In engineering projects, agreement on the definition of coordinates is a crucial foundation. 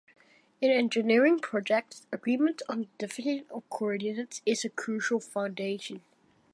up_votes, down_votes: 0, 2